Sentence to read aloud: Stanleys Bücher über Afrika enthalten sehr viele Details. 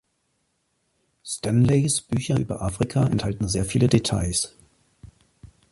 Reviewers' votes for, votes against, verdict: 2, 0, accepted